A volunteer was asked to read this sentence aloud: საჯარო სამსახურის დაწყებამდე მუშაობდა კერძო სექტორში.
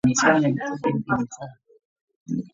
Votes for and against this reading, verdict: 0, 2, rejected